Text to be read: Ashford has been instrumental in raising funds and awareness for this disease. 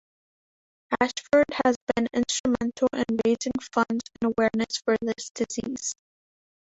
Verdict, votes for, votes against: accepted, 2, 0